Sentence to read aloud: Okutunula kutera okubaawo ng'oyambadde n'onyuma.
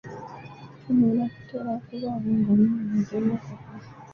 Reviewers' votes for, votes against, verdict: 0, 2, rejected